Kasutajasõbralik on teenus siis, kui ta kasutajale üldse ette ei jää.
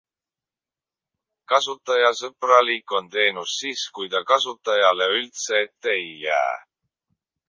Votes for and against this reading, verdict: 0, 2, rejected